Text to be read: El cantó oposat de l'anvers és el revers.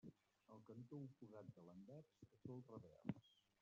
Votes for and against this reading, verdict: 0, 2, rejected